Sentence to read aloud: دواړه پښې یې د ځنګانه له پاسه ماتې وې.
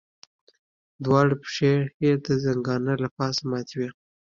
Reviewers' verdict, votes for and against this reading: accepted, 2, 1